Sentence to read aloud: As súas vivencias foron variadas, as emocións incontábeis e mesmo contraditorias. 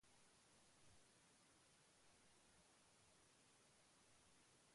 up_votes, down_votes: 0, 2